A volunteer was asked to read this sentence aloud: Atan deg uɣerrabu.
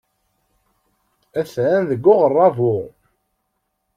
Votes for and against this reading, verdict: 2, 0, accepted